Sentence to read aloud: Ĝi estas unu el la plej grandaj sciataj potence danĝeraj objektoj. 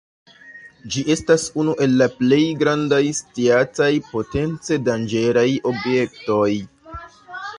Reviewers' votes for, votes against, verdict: 0, 3, rejected